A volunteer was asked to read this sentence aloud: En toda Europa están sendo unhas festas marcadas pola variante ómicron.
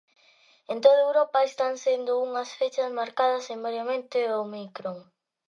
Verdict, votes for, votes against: rejected, 0, 3